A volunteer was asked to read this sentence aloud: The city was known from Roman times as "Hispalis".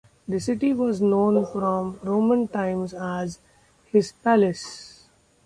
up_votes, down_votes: 2, 0